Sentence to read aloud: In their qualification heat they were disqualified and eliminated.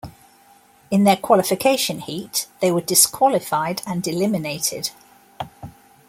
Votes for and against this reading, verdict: 2, 0, accepted